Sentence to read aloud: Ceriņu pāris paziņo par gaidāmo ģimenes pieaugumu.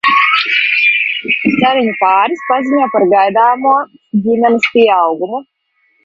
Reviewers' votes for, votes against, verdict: 0, 2, rejected